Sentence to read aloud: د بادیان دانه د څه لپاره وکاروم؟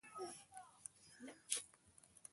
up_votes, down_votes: 2, 0